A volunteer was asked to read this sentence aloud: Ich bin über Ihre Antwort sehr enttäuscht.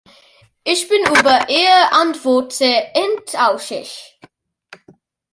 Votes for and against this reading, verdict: 0, 2, rejected